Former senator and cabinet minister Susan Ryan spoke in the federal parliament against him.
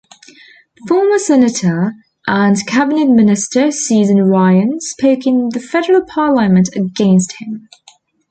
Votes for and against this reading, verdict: 2, 1, accepted